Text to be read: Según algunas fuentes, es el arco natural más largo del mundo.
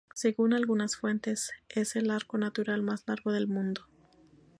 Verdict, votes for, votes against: rejected, 0, 2